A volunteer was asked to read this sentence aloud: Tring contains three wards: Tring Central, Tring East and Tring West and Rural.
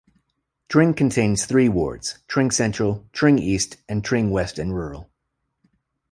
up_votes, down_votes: 2, 0